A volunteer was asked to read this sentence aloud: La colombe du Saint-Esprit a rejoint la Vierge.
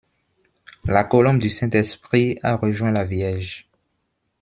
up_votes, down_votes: 0, 2